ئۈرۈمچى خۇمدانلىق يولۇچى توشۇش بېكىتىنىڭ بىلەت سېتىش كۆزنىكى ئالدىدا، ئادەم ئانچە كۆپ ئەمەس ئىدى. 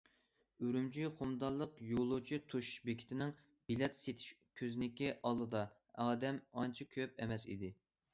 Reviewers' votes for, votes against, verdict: 2, 1, accepted